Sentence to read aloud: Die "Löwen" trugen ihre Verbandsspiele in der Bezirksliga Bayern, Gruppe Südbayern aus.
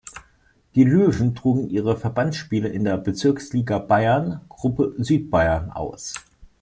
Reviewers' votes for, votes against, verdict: 2, 0, accepted